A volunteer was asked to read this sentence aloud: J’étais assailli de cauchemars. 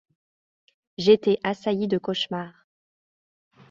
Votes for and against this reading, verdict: 2, 0, accepted